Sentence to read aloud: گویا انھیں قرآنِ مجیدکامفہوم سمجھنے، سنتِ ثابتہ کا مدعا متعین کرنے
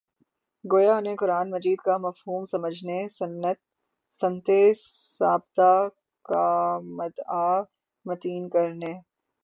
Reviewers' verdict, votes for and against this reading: accepted, 30, 6